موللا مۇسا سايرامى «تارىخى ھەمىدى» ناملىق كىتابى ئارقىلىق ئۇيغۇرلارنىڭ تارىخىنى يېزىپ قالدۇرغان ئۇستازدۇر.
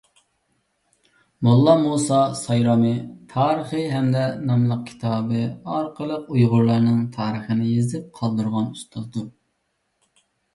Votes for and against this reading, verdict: 1, 2, rejected